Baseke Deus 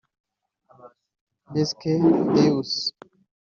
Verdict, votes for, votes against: rejected, 0, 2